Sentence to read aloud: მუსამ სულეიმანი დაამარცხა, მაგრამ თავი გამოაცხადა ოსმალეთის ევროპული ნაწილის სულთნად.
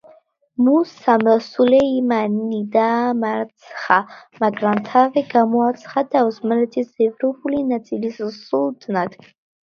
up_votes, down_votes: 0, 2